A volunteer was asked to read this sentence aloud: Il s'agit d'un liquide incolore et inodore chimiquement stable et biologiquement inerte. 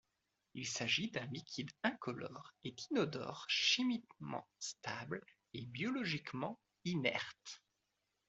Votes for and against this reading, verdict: 2, 0, accepted